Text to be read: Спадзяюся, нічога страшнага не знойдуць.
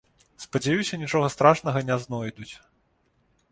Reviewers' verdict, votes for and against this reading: accepted, 2, 0